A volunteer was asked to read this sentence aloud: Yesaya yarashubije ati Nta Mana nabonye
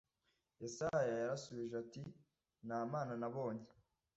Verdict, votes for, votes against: accepted, 2, 0